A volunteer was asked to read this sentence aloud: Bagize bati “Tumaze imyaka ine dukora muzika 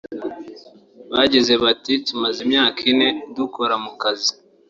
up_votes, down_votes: 1, 2